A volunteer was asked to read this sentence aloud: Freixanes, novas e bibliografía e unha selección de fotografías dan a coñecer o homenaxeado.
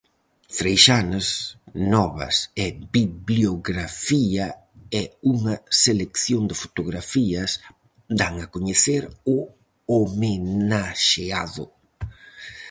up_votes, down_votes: 0, 4